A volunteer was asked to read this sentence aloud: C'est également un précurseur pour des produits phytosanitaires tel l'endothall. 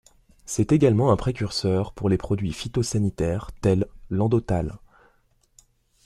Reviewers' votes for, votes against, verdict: 1, 2, rejected